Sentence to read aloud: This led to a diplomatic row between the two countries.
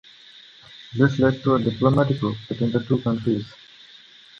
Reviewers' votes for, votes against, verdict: 2, 0, accepted